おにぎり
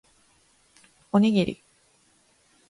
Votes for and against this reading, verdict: 3, 0, accepted